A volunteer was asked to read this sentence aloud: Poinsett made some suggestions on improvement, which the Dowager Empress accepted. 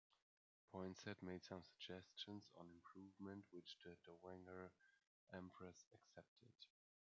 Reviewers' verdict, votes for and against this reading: rejected, 0, 2